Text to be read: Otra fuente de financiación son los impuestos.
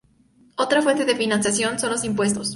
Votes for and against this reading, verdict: 2, 0, accepted